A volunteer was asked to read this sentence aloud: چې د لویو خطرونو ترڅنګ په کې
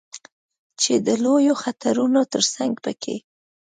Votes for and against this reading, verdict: 2, 0, accepted